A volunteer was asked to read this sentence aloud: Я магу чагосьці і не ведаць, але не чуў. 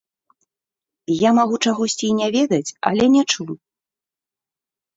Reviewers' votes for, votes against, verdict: 0, 2, rejected